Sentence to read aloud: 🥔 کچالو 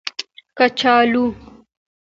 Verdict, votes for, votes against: accepted, 2, 1